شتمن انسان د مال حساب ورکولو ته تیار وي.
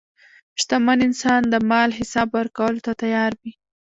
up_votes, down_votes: 1, 2